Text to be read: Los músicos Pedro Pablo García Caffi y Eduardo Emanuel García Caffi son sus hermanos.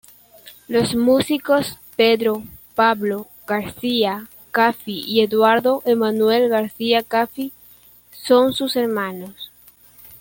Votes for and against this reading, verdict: 2, 1, accepted